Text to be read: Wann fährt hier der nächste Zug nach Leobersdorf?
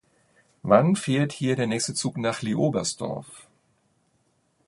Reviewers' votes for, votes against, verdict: 2, 0, accepted